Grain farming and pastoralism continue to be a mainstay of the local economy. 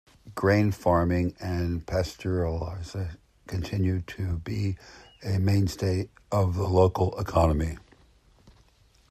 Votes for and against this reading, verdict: 0, 2, rejected